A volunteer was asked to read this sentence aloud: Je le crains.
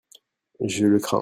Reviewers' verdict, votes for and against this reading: accepted, 2, 0